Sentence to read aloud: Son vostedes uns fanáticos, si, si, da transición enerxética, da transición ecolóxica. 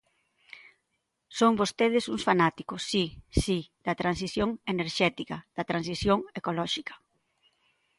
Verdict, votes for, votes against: accepted, 2, 0